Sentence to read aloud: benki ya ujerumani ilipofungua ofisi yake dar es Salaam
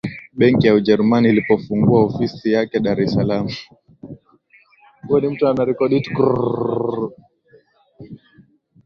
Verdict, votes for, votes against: rejected, 1, 4